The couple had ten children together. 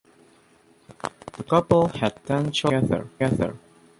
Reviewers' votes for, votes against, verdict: 0, 2, rejected